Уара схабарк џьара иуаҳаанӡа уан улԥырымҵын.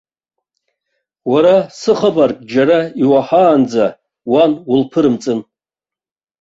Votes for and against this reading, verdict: 2, 0, accepted